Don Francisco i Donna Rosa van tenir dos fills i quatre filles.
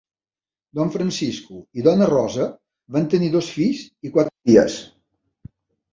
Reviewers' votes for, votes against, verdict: 1, 2, rejected